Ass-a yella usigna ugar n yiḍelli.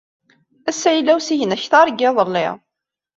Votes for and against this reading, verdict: 0, 2, rejected